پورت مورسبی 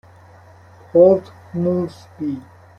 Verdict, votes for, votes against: accepted, 2, 0